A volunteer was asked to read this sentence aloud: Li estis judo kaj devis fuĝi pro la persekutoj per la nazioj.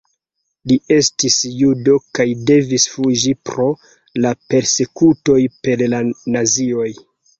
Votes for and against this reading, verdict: 1, 2, rejected